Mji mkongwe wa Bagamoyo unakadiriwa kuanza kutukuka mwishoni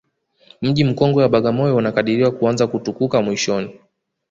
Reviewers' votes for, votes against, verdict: 1, 2, rejected